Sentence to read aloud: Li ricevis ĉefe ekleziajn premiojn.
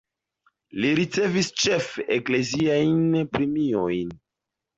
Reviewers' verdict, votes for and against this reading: accepted, 2, 0